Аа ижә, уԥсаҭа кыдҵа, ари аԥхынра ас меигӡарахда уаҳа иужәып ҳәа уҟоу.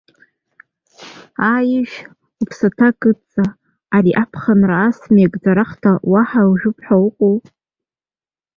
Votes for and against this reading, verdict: 2, 0, accepted